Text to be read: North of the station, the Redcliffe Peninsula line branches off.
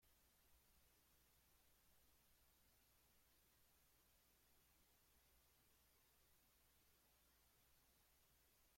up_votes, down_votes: 0, 2